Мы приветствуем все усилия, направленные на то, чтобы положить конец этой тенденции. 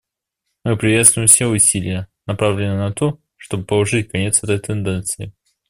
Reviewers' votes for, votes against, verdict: 2, 0, accepted